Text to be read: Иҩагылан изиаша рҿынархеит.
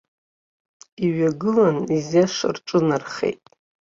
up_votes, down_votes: 3, 0